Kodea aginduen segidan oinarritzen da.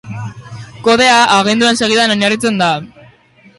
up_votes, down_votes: 0, 2